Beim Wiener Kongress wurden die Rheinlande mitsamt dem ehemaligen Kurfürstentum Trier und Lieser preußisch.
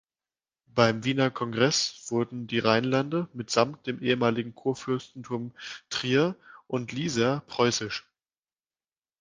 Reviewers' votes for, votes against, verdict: 2, 0, accepted